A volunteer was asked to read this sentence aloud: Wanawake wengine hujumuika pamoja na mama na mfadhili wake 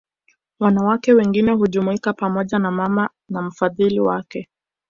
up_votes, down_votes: 2, 0